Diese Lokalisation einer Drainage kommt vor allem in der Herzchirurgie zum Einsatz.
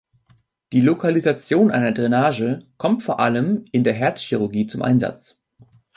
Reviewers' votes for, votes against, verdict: 1, 3, rejected